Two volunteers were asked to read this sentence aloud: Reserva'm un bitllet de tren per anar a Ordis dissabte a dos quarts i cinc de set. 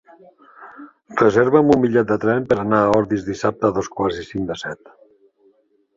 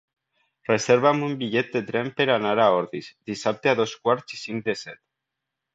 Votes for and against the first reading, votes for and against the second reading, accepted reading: 0, 2, 2, 0, second